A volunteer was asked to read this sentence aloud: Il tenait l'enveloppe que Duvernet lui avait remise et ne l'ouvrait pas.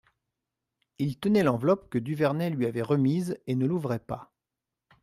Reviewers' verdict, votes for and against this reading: accepted, 2, 0